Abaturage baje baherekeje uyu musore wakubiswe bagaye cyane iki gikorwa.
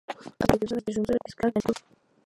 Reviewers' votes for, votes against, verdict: 0, 2, rejected